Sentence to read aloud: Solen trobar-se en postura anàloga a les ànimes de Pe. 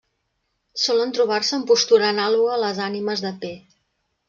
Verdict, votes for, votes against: accepted, 2, 0